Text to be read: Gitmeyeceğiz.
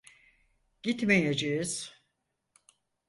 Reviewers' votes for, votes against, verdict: 4, 0, accepted